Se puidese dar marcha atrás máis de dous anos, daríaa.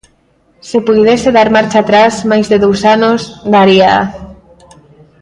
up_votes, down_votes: 1, 2